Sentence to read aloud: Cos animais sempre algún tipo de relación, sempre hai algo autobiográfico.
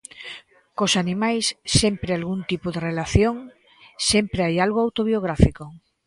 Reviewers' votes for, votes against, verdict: 2, 0, accepted